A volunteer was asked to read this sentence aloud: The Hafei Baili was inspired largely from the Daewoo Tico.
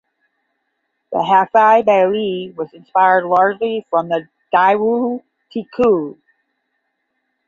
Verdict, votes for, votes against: accepted, 10, 0